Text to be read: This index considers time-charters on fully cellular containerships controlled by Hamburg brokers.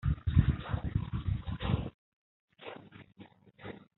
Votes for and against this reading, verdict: 0, 2, rejected